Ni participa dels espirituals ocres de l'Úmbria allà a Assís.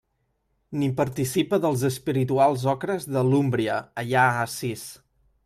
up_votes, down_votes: 2, 0